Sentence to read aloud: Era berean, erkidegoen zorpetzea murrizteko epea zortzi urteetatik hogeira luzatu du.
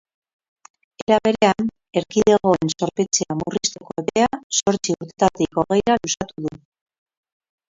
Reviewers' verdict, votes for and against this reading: rejected, 0, 2